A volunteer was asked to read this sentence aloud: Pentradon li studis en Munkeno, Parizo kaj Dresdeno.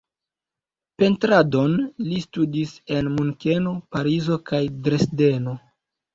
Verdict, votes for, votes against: rejected, 0, 2